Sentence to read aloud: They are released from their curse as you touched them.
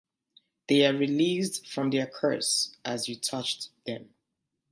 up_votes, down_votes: 2, 1